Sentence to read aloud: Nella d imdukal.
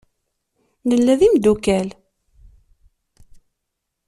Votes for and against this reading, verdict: 2, 0, accepted